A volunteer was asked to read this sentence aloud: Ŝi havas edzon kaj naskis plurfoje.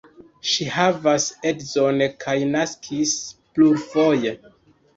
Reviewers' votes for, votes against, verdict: 1, 2, rejected